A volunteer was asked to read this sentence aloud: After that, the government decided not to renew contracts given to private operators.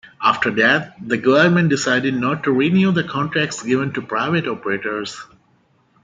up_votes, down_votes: 0, 2